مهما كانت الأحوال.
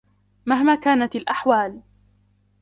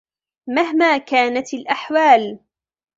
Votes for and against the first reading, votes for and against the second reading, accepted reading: 0, 2, 2, 0, second